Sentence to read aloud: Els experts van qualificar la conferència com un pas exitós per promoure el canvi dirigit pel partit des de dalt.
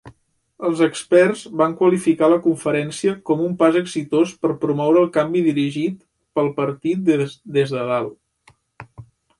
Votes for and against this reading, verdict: 1, 2, rejected